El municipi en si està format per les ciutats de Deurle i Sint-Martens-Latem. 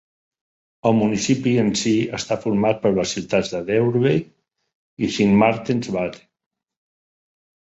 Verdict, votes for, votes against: rejected, 1, 2